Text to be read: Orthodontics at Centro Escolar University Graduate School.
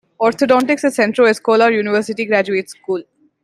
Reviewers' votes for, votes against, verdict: 2, 1, accepted